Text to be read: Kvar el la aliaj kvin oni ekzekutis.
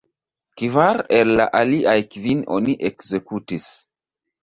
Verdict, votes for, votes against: accepted, 2, 0